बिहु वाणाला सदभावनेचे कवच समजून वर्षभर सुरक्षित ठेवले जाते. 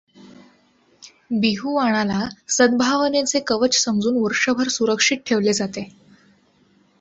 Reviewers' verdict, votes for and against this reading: accepted, 2, 0